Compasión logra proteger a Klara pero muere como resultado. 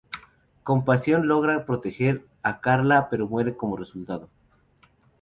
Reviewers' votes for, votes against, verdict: 0, 4, rejected